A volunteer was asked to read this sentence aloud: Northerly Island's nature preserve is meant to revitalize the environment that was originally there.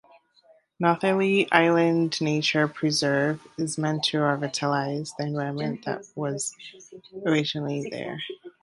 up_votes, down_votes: 0, 2